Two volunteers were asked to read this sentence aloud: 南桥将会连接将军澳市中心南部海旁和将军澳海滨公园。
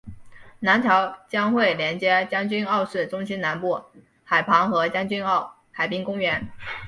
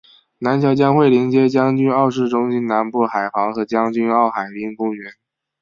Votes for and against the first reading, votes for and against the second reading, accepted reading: 3, 0, 2, 2, first